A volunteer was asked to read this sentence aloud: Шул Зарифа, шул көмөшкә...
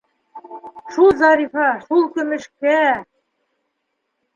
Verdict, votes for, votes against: accepted, 2, 1